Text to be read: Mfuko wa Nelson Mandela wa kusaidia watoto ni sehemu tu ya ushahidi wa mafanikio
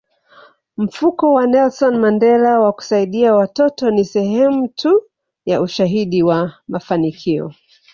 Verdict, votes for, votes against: accepted, 2, 1